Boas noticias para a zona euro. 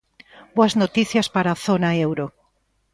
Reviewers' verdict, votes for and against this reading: accepted, 2, 0